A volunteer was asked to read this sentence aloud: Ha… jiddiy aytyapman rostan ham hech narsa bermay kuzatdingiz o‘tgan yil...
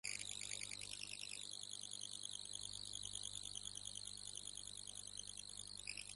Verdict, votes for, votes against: rejected, 0, 2